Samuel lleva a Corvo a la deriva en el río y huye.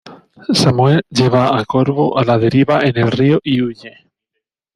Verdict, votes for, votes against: rejected, 1, 2